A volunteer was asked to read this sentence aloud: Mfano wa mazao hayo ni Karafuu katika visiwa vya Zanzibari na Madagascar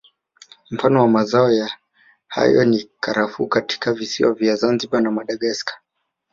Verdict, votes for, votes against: rejected, 1, 2